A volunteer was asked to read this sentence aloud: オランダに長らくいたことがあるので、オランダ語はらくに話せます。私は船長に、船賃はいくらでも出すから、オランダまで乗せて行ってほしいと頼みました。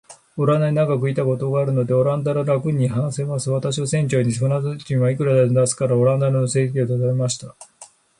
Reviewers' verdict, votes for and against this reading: rejected, 8, 12